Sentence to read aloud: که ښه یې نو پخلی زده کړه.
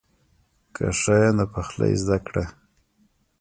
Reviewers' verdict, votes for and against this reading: rejected, 1, 2